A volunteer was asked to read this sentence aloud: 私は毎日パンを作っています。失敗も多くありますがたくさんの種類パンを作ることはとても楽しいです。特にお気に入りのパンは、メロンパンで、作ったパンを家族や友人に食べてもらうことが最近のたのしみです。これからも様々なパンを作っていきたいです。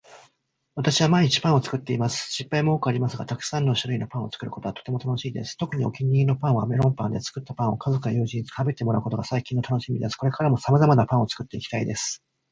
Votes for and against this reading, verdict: 3, 0, accepted